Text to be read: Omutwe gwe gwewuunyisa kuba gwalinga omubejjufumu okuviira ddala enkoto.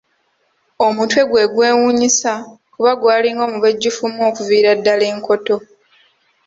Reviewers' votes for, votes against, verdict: 3, 0, accepted